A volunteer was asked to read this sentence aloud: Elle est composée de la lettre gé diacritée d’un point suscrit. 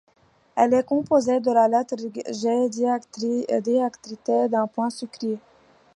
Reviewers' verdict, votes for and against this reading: rejected, 1, 2